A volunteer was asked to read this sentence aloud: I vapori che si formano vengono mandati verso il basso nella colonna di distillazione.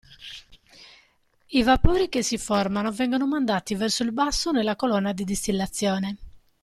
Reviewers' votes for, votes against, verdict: 2, 0, accepted